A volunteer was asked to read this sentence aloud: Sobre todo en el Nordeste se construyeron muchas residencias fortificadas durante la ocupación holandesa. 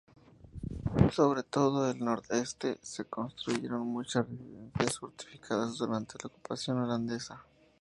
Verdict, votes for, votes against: rejected, 0, 2